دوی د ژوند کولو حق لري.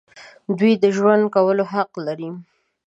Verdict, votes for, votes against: accepted, 2, 0